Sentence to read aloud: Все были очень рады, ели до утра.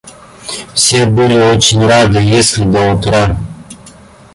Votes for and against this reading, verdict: 0, 2, rejected